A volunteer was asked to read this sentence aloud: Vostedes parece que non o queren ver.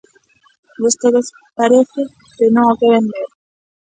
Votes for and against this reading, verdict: 0, 2, rejected